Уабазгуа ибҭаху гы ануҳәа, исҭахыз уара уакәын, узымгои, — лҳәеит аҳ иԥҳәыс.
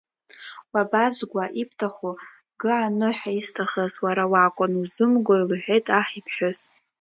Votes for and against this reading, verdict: 2, 0, accepted